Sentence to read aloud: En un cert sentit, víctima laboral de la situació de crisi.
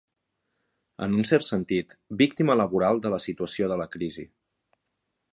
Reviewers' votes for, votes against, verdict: 1, 2, rejected